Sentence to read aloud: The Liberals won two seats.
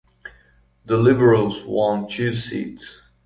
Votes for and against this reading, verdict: 2, 0, accepted